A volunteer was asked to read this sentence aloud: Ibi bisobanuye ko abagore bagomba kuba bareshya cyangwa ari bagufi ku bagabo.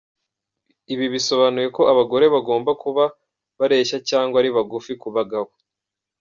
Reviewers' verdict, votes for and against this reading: rejected, 1, 2